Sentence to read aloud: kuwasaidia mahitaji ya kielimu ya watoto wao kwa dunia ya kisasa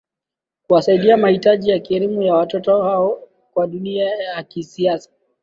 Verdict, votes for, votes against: rejected, 0, 2